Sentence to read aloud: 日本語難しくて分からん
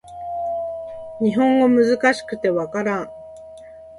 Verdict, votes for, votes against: accepted, 2, 0